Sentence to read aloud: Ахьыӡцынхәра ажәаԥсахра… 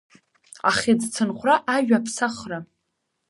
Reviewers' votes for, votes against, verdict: 3, 0, accepted